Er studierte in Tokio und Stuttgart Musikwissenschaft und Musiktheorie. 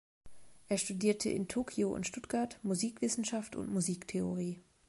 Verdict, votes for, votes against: accepted, 2, 0